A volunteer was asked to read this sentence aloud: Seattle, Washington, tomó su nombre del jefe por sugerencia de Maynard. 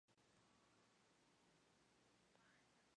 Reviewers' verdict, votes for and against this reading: rejected, 0, 2